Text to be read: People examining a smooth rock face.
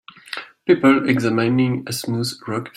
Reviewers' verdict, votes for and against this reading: rejected, 0, 2